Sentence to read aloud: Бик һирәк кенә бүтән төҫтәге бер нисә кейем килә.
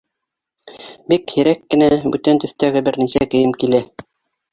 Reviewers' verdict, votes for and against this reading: rejected, 0, 2